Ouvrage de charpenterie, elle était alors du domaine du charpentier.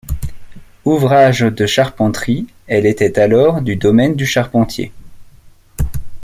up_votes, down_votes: 2, 0